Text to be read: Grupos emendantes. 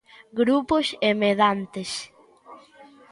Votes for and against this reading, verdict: 1, 2, rejected